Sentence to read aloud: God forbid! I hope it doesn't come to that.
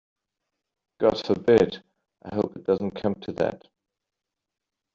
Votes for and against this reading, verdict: 2, 1, accepted